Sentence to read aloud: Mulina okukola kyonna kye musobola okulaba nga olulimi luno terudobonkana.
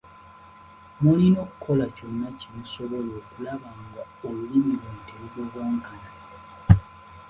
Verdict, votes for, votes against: accepted, 2, 0